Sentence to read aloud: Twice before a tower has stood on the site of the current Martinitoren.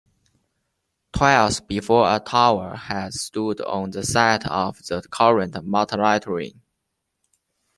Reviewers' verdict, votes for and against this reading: rejected, 1, 2